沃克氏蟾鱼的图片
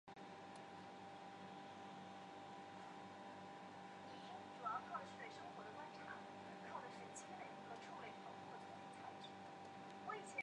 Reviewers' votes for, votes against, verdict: 0, 4, rejected